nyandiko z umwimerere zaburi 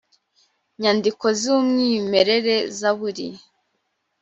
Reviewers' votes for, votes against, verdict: 2, 0, accepted